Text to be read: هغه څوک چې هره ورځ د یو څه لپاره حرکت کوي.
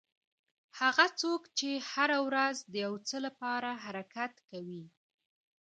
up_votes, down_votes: 2, 1